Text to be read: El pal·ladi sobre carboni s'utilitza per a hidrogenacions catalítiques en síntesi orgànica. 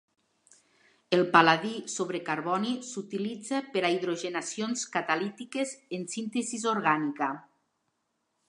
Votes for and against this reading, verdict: 0, 2, rejected